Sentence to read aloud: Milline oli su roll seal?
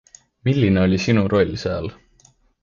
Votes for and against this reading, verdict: 1, 2, rejected